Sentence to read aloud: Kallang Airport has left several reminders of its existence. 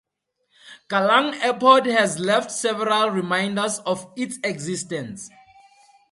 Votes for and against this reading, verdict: 4, 0, accepted